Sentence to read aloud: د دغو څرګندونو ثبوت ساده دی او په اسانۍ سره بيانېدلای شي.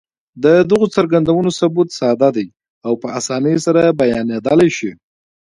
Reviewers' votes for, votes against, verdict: 2, 1, accepted